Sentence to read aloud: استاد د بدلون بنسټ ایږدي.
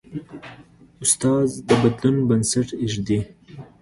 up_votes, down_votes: 2, 0